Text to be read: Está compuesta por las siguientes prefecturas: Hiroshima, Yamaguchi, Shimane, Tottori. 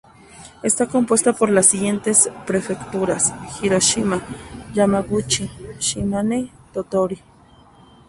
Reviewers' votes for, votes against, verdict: 2, 0, accepted